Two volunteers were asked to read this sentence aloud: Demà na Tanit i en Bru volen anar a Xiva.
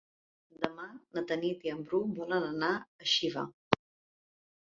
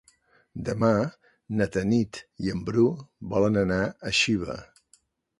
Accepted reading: second